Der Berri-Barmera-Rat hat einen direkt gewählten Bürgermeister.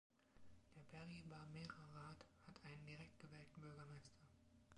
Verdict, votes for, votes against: rejected, 1, 2